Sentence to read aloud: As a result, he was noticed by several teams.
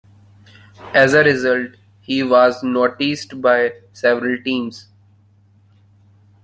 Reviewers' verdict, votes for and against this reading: accepted, 2, 1